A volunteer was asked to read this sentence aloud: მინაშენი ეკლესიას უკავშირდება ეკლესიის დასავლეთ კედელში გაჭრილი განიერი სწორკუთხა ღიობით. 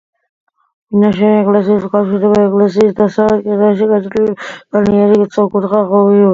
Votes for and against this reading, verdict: 1, 2, rejected